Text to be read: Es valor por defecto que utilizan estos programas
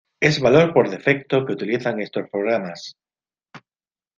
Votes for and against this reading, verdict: 2, 1, accepted